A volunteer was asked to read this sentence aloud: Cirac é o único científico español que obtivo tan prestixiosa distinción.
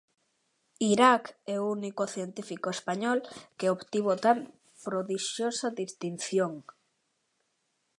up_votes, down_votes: 0, 2